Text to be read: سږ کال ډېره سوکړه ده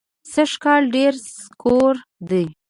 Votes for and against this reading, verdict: 1, 2, rejected